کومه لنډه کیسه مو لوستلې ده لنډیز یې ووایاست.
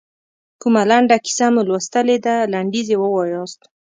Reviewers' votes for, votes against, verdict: 2, 0, accepted